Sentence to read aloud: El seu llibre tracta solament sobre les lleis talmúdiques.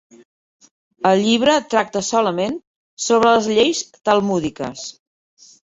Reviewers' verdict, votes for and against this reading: rejected, 0, 2